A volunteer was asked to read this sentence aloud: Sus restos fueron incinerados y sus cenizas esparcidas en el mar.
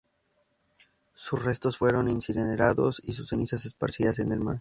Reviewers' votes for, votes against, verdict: 2, 0, accepted